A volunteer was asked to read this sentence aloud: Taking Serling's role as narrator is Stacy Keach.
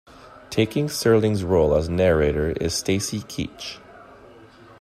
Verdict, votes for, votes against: accepted, 2, 1